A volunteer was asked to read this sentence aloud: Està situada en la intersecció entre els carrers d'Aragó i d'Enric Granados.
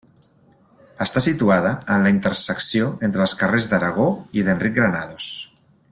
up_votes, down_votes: 2, 0